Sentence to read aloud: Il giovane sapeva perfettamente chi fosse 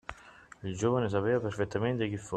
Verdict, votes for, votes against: rejected, 0, 2